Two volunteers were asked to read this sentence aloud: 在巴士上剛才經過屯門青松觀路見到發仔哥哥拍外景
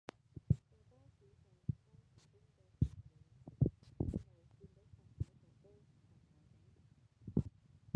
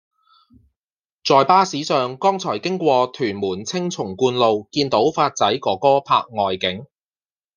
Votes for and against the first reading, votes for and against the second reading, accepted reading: 0, 2, 2, 0, second